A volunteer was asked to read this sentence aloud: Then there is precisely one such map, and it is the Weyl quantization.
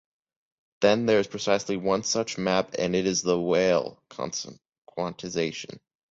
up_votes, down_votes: 1, 2